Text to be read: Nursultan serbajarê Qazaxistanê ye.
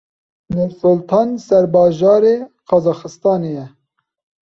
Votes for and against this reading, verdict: 2, 0, accepted